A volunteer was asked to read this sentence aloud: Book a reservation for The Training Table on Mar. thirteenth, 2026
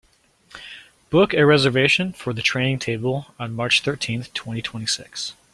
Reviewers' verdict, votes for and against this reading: rejected, 0, 2